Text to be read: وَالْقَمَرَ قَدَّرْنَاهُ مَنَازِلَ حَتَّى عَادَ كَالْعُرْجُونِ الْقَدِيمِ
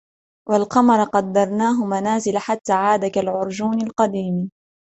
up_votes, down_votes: 1, 2